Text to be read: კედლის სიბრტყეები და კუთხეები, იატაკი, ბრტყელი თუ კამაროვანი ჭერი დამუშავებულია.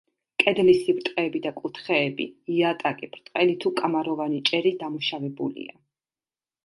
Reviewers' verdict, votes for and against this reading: accepted, 2, 0